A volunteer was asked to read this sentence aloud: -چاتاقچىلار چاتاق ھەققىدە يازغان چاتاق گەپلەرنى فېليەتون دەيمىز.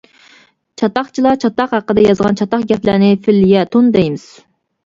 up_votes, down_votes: 0, 2